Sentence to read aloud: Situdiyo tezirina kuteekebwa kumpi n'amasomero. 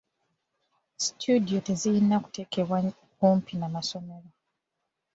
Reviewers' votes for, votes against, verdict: 2, 1, accepted